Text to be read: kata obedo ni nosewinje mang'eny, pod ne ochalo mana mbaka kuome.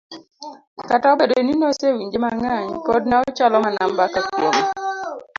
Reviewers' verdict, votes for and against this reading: rejected, 0, 2